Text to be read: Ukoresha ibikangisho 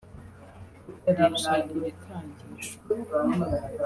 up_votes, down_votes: 0, 2